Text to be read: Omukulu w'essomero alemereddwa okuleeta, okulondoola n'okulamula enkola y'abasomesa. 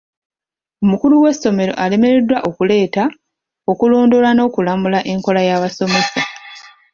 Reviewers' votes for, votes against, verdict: 1, 2, rejected